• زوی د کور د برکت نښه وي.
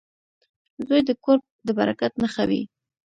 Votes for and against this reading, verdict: 2, 0, accepted